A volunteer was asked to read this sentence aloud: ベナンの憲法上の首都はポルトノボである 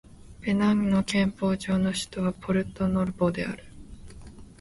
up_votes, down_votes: 3, 0